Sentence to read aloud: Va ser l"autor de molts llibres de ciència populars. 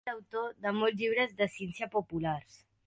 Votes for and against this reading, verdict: 1, 2, rejected